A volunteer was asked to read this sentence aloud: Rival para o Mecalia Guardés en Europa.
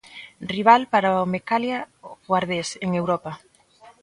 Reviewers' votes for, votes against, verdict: 0, 2, rejected